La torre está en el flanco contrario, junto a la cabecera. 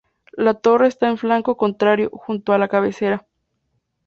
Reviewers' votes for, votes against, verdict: 2, 0, accepted